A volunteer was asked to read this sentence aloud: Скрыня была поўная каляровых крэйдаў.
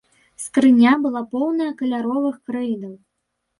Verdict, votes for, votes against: rejected, 1, 2